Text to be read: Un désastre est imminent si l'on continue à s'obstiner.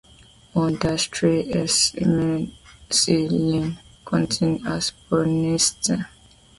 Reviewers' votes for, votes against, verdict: 0, 2, rejected